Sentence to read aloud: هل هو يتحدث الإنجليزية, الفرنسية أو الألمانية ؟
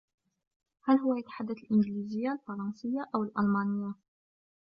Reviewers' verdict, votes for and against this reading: rejected, 1, 2